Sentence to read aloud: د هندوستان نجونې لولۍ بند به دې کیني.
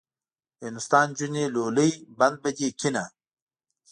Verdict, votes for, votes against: accepted, 2, 0